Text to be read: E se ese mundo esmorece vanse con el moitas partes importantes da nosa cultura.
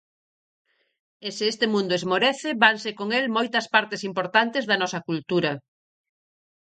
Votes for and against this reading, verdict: 0, 4, rejected